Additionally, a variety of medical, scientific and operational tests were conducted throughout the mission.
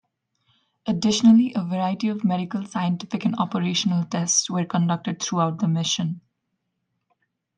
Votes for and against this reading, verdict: 2, 0, accepted